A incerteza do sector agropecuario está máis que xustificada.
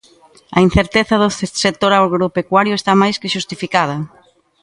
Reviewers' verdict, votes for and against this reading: rejected, 0, 2